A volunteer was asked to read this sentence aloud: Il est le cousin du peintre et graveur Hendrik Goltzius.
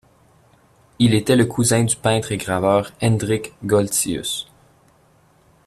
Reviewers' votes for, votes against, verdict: 0, 2, rejected